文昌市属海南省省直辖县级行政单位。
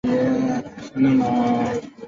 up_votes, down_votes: 3, 4